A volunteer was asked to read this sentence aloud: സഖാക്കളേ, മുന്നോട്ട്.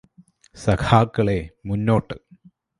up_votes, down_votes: 2, 0